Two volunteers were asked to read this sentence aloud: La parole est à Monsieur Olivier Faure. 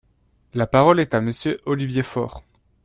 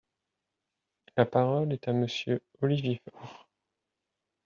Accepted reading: first